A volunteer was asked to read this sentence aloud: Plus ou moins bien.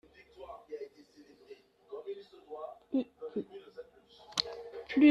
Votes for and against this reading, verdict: 0, 2, rejected